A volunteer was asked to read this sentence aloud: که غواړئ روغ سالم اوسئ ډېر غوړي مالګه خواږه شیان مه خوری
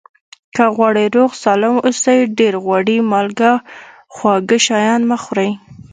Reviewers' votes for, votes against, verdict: 2, 0, accepted